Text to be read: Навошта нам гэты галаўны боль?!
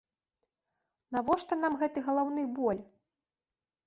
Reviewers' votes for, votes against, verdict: 2, 0, accepted